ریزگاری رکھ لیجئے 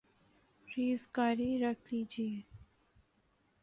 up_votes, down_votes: 3, 0